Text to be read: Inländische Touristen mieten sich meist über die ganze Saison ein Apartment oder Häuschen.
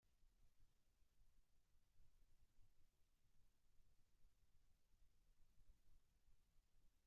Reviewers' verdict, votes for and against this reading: rejected, 0, 2